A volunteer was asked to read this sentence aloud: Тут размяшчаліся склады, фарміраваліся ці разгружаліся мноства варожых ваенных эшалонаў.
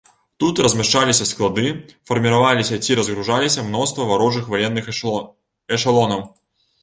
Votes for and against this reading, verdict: 0, 2, rejected